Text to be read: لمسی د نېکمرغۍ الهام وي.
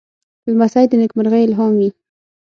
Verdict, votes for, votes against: accepted, 6, 0